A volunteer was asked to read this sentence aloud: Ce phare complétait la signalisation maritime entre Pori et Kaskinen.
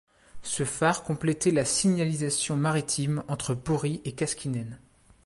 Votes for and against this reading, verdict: 2, 0, accepted